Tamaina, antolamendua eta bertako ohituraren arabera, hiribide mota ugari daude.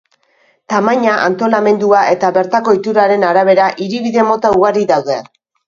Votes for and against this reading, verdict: 2, 2, rejected